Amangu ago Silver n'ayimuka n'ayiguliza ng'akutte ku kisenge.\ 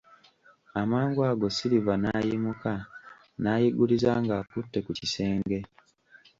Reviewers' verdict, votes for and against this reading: rejected, 1, 2